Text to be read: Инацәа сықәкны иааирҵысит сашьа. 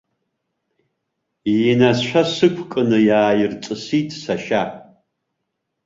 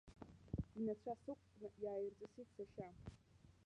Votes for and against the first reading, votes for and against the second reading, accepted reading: 2, 0, 0, 2, first